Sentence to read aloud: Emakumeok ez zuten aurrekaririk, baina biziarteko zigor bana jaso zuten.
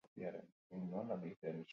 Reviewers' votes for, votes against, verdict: 0, 4, rejected